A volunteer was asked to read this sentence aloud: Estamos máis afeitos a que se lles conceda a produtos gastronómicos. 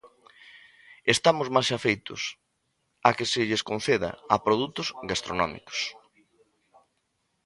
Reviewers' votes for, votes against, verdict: 0, 2, rejected